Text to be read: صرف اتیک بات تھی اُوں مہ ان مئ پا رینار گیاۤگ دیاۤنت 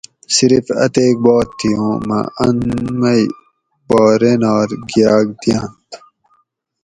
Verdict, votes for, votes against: accepted, 2, 0